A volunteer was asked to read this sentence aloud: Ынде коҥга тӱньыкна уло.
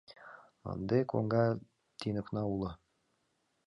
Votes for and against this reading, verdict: 2, 1, accepted